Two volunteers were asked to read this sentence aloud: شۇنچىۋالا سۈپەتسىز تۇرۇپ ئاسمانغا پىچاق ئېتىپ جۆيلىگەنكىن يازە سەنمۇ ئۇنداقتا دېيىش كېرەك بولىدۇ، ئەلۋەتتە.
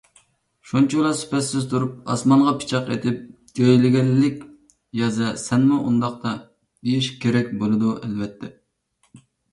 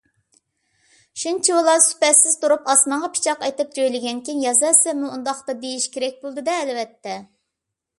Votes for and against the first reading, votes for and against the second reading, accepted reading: 1, 2, 2, 0, second